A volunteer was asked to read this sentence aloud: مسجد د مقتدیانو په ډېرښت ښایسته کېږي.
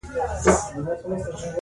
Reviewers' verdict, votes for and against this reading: accepted, 2, 0